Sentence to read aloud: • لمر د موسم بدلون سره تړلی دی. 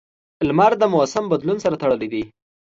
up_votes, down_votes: 2, 0